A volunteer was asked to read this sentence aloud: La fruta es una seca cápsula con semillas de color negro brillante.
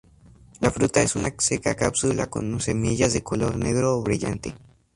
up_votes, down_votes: 0, 4